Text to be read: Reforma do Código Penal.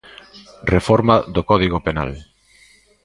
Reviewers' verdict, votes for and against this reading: accepted, 2, 0